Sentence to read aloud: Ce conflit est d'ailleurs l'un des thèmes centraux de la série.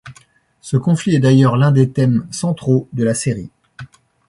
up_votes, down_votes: 2, 0